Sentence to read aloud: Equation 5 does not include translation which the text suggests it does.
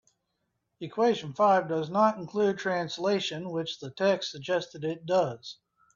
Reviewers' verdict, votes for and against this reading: rejected, 0, 2